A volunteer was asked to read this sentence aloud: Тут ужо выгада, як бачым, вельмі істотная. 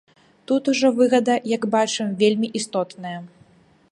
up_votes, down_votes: 2, 0